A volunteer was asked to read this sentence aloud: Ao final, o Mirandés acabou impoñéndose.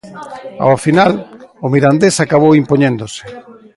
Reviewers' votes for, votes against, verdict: 2, 0, accepted